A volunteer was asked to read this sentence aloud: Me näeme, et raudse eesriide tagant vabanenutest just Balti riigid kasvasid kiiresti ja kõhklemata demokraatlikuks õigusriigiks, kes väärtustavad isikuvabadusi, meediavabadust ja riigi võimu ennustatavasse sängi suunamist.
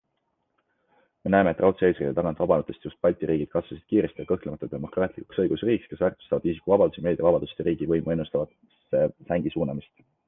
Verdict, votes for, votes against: accepted, 2, 0